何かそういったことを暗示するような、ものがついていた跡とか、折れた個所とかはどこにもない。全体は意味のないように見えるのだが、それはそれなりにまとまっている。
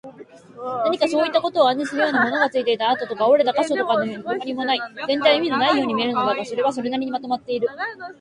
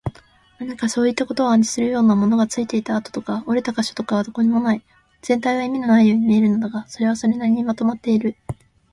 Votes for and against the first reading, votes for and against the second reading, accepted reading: 1, 2, 2, 0, second